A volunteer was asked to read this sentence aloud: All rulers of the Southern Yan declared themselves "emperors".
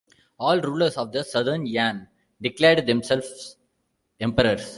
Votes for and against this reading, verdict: 2, 0, accepted